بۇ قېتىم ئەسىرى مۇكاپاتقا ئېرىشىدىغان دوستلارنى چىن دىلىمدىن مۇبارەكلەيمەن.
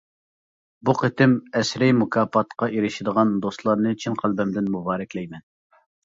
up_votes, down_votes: 0, 2